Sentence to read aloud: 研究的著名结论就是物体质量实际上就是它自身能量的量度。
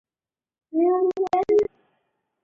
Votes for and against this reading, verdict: 0, 3, rejected